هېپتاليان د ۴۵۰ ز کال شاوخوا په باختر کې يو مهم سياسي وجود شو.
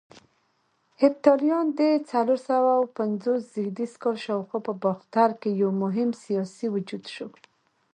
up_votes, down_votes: 0, 2